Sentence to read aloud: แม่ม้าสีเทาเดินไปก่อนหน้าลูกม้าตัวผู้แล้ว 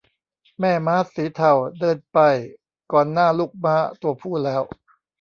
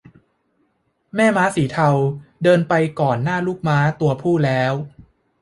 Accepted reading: second